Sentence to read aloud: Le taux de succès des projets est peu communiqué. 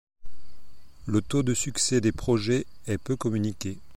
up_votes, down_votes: 2, 0